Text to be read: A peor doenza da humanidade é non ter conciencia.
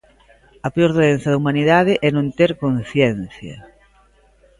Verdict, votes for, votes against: accepted, 2, 0